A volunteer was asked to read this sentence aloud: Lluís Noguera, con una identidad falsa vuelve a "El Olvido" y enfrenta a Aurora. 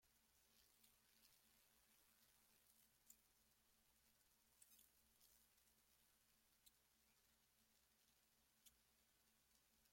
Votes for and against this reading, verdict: 0, 2, rejected